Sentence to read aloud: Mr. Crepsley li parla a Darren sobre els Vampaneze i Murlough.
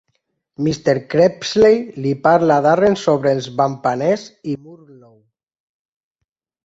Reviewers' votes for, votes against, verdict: 1, 2, rejected